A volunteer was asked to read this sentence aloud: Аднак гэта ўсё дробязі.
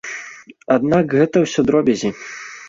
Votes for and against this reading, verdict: 2, 0, accepted